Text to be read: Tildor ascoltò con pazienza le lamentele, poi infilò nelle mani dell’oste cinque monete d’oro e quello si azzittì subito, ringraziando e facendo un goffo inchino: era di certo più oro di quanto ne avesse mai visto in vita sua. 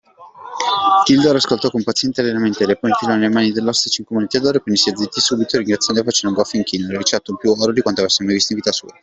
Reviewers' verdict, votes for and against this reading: rejected, 2, 3